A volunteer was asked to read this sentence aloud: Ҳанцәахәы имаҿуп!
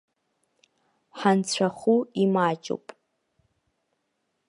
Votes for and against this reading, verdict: 2, 3, rejected